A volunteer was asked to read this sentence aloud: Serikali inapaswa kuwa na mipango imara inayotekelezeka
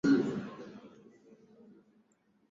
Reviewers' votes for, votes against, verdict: 4, 7, rejected